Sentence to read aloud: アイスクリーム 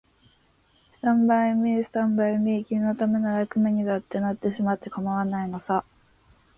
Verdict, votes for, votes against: rejected, 1, 2